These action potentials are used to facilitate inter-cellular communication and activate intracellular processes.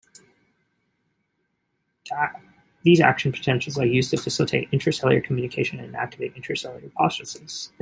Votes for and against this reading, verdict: 1, 2, rejected